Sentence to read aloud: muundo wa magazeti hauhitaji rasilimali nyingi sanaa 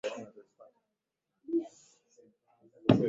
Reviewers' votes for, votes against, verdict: 0, 2, rejected